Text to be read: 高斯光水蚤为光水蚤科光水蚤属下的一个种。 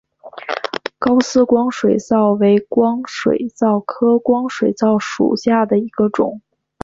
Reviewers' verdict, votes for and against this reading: accepted, 7, 1